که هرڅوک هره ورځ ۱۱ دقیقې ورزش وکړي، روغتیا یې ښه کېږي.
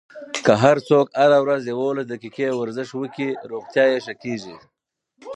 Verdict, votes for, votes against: rejected, 0, 2